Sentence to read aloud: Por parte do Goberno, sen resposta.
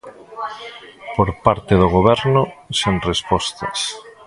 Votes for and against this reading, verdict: 0, 2, rejected